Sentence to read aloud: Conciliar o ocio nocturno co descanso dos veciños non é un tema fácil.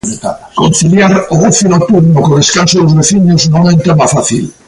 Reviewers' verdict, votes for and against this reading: rejected, 0, 2